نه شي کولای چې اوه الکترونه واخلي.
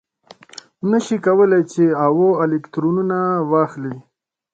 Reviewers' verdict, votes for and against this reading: accepted, 2, 1